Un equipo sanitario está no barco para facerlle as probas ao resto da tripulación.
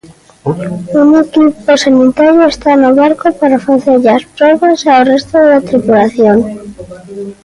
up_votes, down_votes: 1, 2